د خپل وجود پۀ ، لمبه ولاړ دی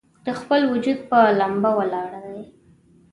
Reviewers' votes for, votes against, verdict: 2, 0, accepted